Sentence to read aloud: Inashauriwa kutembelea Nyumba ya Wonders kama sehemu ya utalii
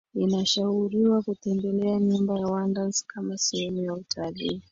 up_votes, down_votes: 4, 1